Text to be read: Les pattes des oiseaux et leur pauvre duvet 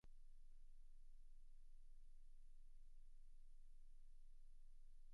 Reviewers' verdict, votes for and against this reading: rejected, 0, 2